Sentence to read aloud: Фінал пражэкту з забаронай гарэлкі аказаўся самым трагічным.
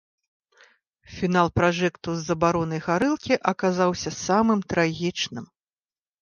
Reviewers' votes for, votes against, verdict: 3, 0, accepted